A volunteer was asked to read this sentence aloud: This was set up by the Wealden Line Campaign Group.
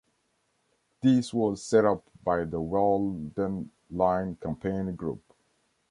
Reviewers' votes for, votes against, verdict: 1, 2, rejected